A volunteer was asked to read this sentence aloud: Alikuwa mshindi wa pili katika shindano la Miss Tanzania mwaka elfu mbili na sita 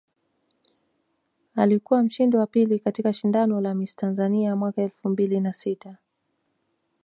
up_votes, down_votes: 1, 2